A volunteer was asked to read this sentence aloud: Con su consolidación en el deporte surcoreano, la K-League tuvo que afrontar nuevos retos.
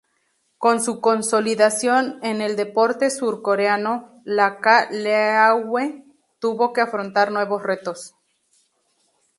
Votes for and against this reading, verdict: 0, 2, rejected